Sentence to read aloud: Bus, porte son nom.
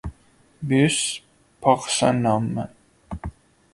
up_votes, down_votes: 1, 2